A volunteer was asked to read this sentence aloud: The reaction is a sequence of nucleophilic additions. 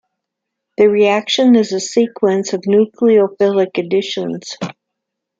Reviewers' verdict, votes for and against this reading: accepted, 2, 0